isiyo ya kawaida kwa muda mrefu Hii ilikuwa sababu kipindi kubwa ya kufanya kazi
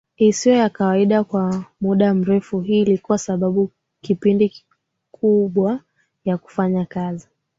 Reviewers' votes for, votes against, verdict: 2, 0, accepted